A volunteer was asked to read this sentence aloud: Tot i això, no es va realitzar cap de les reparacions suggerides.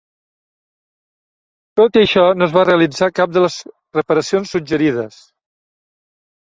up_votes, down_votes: 3, 0